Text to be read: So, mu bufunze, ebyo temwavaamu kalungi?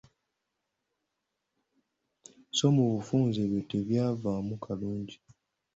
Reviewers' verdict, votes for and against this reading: rejected, 1, 2